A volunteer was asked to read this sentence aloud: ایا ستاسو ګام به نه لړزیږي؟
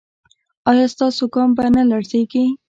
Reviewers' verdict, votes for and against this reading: rejected, 1, 2